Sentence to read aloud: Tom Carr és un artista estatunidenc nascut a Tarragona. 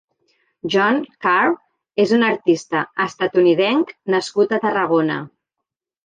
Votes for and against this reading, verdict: 0, 3, rejected